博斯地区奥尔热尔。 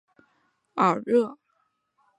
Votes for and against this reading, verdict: 2, 1, accepted